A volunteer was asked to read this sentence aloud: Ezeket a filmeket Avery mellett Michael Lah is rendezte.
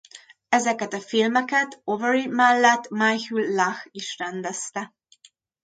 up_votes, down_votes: 2, 0